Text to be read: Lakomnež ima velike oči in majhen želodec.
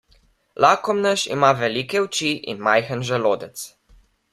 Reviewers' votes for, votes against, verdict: 2, 0, accepted